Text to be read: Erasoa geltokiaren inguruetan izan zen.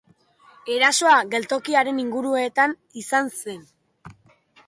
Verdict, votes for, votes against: accepted, 2, 0